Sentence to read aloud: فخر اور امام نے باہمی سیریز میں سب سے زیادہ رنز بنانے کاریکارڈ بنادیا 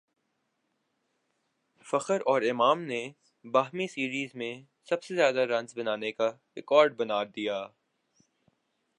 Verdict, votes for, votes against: accepted, 2, 0